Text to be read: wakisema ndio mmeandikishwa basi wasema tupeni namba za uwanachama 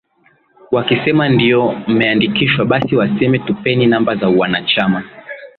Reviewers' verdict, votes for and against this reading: accepted, 2, 0